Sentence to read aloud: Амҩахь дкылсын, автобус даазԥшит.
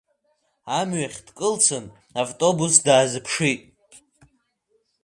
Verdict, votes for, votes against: accepted, 2, 0